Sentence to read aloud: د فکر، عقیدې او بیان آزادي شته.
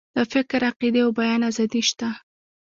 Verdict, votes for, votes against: rejected, 0, 2